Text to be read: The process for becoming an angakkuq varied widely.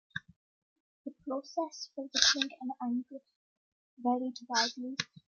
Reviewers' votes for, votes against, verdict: 2, 1, accepted